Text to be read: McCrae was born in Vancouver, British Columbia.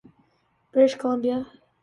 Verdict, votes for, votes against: rejected, 0, 2